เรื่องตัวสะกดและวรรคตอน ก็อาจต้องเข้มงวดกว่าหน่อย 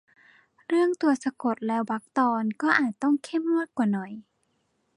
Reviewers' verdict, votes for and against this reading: accepted, 2, 0